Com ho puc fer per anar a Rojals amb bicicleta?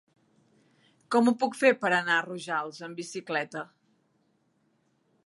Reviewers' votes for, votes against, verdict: 3, 0, accepted